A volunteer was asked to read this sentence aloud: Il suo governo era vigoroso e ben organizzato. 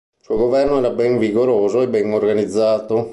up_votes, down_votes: 2, 4